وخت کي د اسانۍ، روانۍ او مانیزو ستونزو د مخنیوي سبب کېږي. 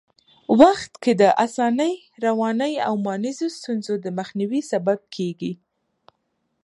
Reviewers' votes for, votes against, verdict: 2, 1, accepted